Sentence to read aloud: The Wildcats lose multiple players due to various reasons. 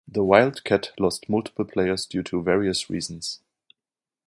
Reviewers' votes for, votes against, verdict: 0, 2, rejected